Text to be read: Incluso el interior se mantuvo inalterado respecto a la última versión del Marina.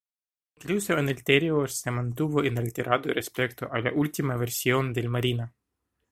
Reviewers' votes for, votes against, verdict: 2, 0, accepted